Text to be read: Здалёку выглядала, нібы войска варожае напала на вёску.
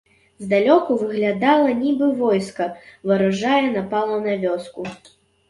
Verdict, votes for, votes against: rejected, 0, 2